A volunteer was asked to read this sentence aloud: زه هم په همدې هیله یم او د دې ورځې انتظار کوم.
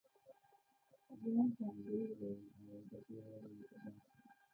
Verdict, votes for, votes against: rejected, 0, 2